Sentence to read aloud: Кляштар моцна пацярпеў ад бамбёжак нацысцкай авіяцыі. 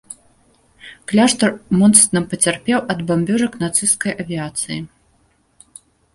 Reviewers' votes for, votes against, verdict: 1, 2, rejected